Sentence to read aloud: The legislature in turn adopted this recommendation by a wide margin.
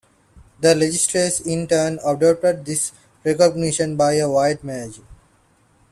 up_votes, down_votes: 2, 0